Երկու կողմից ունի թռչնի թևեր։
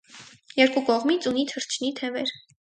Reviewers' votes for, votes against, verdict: 4, 0, accepted